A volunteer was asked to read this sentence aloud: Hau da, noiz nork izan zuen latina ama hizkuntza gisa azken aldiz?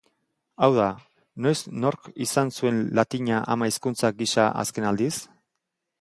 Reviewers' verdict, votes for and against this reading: accepted, 2, 0